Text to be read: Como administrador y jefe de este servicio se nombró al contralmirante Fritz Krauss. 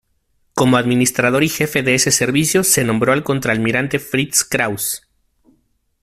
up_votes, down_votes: 1, 2